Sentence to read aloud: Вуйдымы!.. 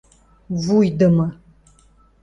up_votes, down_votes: 2, 0